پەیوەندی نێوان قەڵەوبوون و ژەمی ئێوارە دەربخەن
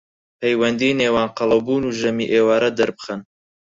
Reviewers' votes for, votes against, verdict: 0, 4, rejected